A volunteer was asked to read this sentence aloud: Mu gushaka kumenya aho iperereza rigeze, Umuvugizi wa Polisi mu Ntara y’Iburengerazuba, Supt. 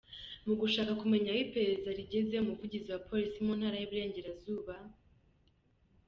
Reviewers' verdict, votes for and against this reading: accepted, 2, 1